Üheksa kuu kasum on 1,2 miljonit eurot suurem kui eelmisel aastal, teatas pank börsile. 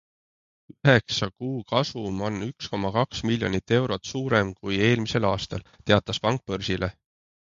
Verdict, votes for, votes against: rejected, 0, 2